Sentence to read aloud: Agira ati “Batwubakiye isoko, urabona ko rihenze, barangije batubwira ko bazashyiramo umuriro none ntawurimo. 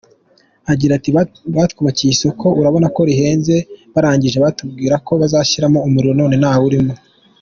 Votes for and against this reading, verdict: 2, 0, accepted